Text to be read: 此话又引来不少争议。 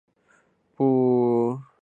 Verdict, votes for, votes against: rejected, 0, 4